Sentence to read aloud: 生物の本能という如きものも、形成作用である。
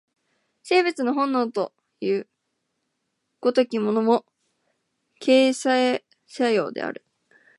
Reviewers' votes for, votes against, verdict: 2, 1, accepted